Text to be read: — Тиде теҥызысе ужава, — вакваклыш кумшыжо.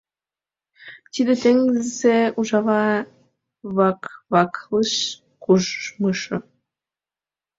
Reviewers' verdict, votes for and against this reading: rejected, 1, 2